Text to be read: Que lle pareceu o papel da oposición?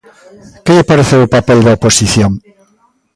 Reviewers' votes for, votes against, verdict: 0, 2, rejected